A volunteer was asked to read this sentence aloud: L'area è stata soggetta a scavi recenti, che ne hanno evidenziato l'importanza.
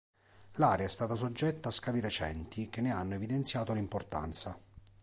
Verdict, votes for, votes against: accepted, 2, 0